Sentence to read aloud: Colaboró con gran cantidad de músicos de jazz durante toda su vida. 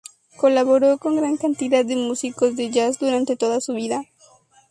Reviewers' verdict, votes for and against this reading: accepted, 4, 0